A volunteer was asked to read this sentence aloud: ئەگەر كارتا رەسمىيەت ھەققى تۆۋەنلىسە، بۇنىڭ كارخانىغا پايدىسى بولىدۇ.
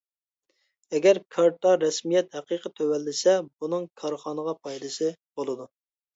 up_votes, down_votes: 1, 2